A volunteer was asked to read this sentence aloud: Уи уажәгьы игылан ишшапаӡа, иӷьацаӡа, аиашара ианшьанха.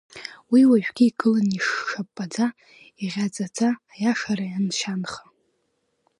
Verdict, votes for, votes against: rejected, 1, 2